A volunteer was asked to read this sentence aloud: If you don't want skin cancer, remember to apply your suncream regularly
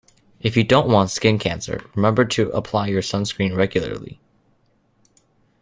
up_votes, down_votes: 1, 2